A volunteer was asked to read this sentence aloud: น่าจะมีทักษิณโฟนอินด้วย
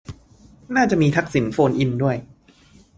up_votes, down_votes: 2, 0